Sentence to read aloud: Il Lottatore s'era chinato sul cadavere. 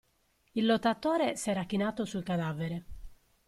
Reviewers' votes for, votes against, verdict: 2, 0, accepted